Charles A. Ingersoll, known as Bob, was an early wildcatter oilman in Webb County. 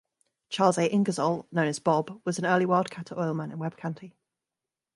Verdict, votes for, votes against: accepted, 2, 0